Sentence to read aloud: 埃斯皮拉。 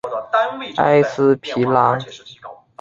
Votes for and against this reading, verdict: 0, 2, rejected